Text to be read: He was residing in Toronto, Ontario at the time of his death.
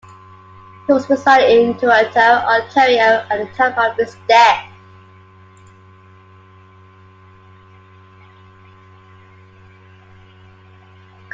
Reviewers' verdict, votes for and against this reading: rejected, 1, 2